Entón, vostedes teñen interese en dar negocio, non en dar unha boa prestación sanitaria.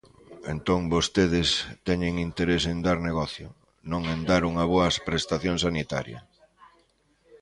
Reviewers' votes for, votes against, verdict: 1, 2, rejected